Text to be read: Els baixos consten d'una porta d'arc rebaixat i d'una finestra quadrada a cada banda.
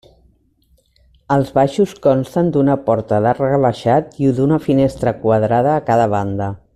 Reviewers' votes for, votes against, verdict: 2, 0, accepted